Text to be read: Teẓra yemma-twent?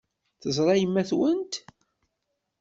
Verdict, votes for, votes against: accepted, 2, 0